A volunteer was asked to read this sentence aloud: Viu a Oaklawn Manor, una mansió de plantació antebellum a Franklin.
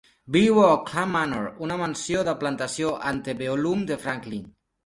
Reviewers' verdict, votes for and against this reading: accepted, 3, 0